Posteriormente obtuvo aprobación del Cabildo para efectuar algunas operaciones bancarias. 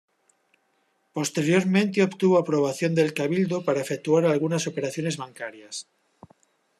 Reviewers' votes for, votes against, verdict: 1, 2, rejected